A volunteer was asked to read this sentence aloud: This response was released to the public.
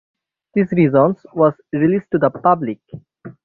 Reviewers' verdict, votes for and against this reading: rejected, 0, 9